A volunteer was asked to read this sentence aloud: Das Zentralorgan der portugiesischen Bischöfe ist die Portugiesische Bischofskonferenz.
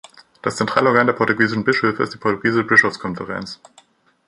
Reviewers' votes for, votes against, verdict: 0, 2, rejected